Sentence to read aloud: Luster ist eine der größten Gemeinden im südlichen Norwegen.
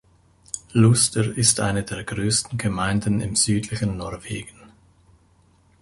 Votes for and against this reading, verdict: 0, 2, rejected